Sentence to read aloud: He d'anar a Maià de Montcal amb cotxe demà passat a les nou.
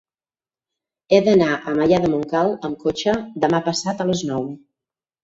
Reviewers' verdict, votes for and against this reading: rejected, 2, 4